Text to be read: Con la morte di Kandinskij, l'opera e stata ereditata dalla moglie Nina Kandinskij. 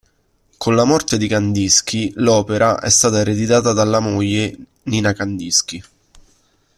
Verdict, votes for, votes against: accepted, 2, 0